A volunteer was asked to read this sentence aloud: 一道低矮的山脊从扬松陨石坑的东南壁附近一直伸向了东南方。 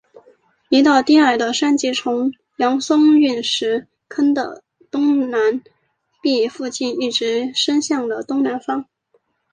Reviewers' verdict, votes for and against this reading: accepted, 3, 1